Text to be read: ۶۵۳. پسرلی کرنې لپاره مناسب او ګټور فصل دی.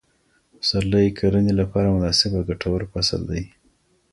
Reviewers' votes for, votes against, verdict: 0, 2, rejected